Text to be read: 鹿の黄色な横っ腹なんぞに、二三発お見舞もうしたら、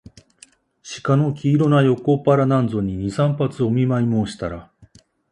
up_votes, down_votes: 2, 0